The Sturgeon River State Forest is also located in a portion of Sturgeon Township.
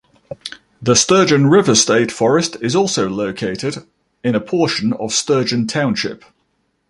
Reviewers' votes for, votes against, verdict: 2, 0, accepted